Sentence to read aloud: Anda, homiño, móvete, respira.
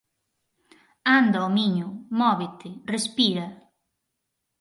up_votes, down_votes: 4, 0